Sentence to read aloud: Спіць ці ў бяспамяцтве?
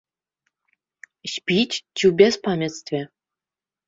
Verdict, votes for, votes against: rejected, 1, 2